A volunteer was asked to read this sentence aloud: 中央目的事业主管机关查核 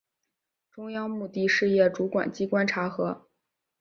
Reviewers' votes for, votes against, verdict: 2, 0, accepted